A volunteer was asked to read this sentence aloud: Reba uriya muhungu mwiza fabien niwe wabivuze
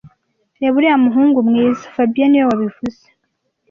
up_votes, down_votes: 2, 0